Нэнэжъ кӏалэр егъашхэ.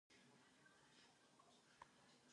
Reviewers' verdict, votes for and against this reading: rejected, 0, 4